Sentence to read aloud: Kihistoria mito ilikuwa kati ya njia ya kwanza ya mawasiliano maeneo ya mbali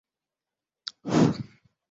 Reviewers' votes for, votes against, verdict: 0, 2, rejected